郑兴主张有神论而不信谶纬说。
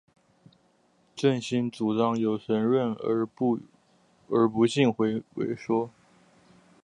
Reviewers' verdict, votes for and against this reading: rejected, 0, 3